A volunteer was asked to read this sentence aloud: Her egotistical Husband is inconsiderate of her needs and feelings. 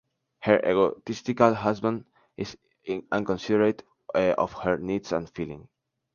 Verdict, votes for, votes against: rejected, 0, 2